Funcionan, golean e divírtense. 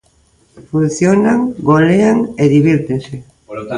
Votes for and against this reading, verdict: 0, 2, rejected